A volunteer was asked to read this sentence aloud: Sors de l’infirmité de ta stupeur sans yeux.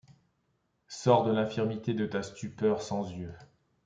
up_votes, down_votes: 2, 0